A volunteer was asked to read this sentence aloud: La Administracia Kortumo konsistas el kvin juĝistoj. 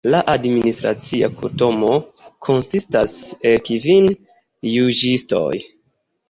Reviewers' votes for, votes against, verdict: 2, 0, accepted